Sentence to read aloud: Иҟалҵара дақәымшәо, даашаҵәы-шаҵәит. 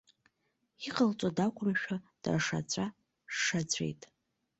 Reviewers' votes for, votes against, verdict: 2, 1, accepted